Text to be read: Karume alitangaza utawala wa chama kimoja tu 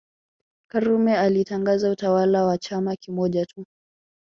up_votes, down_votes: 3, 0